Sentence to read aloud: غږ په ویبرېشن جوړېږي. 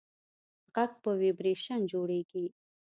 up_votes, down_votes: 2, 0